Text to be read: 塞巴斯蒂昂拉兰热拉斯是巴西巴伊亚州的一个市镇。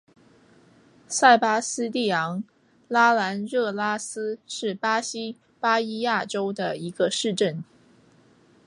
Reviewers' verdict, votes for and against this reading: accepted, 2, 1